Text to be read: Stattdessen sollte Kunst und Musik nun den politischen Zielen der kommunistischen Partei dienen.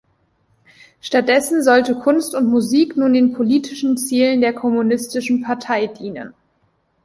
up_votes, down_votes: 2, 0